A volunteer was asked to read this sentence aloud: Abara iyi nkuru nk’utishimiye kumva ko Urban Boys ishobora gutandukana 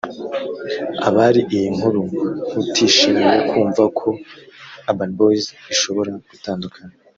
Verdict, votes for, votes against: rejected, 0, 2